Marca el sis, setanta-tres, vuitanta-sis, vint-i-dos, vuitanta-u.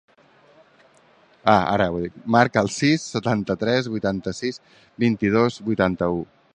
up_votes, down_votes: 0, 2